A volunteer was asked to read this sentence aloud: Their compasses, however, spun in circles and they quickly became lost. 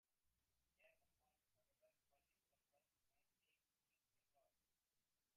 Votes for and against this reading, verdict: 0, 2, rejected